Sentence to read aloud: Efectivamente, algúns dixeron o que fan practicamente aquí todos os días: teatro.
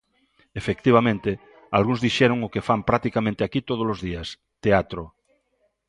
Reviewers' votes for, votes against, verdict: 2, 0, accepted